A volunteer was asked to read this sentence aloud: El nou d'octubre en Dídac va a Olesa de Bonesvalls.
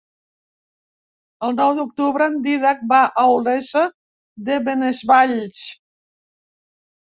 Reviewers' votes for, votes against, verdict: 1, 3, rejected